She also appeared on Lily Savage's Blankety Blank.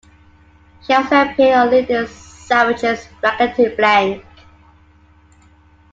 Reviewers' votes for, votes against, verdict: 0, 2, rejected